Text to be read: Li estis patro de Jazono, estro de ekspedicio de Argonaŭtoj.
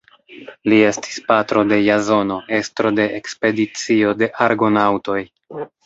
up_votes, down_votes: 1, 3